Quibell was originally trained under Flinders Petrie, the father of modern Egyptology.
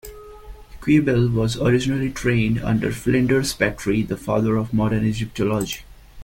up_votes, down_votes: 0, 2